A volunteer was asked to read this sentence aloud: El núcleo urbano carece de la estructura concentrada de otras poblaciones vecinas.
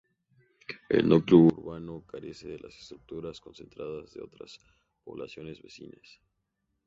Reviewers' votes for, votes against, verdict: 2, 2, rejected